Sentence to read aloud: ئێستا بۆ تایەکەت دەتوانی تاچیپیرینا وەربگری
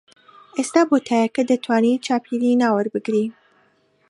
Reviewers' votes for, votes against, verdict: 0, 2, rejected